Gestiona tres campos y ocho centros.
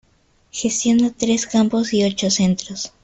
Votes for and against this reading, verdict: 1, 2, rejected